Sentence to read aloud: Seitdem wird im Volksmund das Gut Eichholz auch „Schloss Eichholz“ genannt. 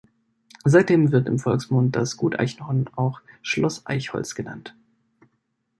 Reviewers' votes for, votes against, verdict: 0, 2, rejected